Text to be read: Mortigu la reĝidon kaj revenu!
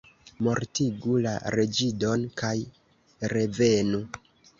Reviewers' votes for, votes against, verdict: 2, 1, accepted